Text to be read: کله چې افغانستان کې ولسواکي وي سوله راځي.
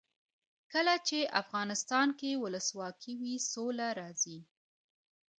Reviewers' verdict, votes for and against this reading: rejected, 0, 2